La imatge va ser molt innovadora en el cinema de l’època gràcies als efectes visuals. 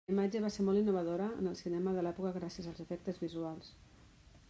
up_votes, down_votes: 2, 1